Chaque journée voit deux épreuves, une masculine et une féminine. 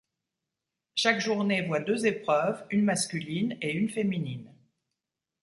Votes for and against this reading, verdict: 2, 0, accepted